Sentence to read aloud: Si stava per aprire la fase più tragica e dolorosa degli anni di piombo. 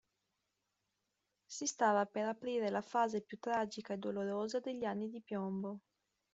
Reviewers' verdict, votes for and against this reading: rejected, 1, 2